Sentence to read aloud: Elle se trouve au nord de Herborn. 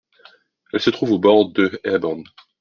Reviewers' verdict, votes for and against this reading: rejected, 1, 2